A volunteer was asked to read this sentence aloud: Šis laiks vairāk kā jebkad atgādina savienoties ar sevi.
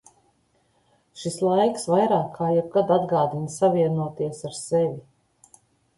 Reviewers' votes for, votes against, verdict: 2, 0, accepted